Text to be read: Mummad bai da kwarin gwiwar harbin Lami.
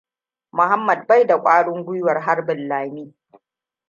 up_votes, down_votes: 1, 2